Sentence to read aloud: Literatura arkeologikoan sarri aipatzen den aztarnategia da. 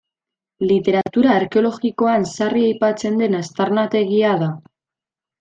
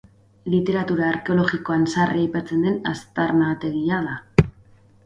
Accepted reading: second